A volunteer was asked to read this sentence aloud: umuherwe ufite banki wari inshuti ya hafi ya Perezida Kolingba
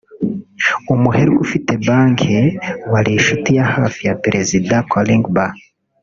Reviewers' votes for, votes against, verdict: 0, 2, rejected